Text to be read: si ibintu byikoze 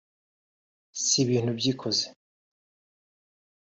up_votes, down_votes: 1, 2